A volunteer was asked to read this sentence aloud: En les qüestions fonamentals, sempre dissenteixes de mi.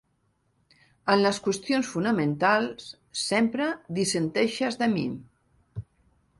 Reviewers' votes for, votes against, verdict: 3, 0, accepted